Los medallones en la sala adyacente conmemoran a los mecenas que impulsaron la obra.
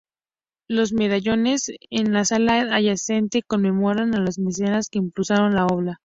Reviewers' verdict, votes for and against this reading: accepted, 2, 0